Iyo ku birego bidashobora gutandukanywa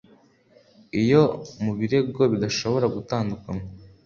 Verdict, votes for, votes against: accepted, 2, 0